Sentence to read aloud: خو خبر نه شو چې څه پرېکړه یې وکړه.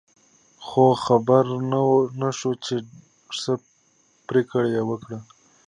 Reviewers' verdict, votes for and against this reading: accepted, 2, 0